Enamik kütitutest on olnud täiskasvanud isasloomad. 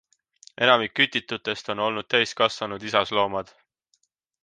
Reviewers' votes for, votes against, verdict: 2, 0, accepted